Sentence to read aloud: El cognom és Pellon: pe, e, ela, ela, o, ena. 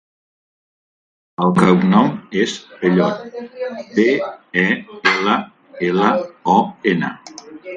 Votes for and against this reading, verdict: 1, 3, rejected